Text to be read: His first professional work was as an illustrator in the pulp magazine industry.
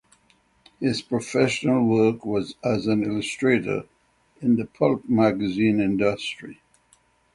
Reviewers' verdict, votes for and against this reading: rejected, 3, 3